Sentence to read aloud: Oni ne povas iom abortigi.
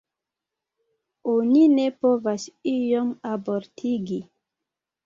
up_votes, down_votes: 3, 0